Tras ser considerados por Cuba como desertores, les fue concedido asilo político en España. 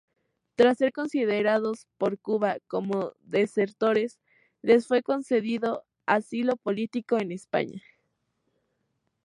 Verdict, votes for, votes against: accepted, 2, 0